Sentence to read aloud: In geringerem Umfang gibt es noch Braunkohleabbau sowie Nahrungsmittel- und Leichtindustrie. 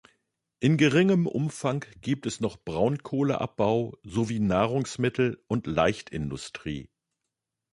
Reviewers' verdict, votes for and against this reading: rejected, 1, 2